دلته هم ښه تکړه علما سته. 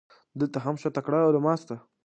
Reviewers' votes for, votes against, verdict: 0, 2, rejected